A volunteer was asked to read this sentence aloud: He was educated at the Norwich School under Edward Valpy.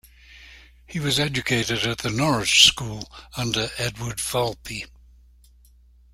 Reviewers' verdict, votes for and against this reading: rejected, 1, 2